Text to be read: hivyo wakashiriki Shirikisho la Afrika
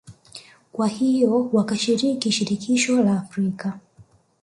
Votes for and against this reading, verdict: 1, 2, rejected